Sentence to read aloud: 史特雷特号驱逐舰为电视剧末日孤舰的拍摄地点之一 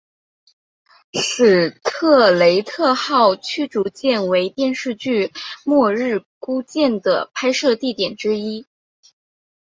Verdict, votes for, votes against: accepted, 3, 0